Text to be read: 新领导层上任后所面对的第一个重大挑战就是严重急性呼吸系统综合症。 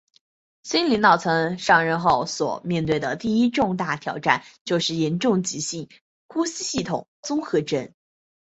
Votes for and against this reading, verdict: 1, 2, rejected